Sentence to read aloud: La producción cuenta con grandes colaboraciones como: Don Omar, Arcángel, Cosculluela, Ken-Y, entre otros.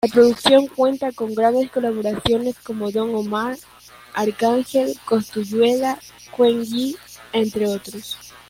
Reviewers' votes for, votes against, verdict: 2, 0, accepted